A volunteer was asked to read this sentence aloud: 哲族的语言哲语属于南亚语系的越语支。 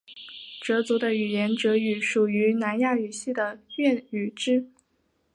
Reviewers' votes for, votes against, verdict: 5, 0, accepted